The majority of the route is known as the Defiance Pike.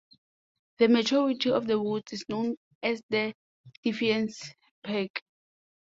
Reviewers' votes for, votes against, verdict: 2, 1, accepted